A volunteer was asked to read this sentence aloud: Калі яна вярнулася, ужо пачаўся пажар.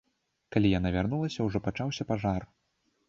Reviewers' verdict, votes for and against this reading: accepted, 2, 0